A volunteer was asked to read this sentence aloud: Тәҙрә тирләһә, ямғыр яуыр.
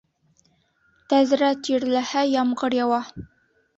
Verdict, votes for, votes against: rejected, 1, 3